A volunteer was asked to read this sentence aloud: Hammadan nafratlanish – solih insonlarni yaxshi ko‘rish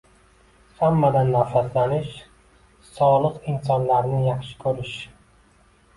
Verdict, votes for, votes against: accepted, 2, 1